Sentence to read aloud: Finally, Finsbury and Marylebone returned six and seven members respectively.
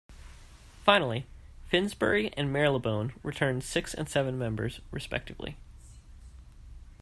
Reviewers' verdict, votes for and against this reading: accepted, 2, 0